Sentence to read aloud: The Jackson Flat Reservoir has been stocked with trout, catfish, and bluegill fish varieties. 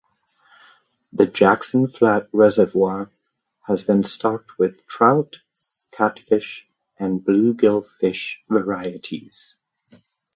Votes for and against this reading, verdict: 2, 0, accepted